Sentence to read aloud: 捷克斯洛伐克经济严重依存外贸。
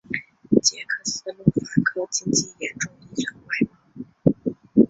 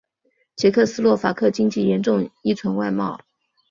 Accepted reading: second